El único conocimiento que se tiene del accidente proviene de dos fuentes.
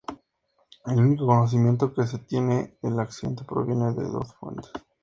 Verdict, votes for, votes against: accepted, 2, 0